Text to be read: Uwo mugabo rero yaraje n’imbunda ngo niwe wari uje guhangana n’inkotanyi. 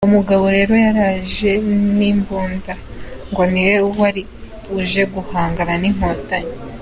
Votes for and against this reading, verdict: 3, 0, accepted